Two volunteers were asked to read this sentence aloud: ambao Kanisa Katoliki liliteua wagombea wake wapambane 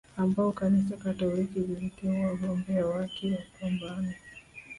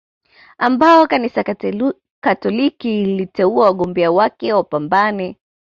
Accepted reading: second